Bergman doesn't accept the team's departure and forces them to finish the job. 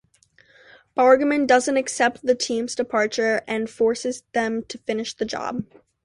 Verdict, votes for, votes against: accepted, 2, 0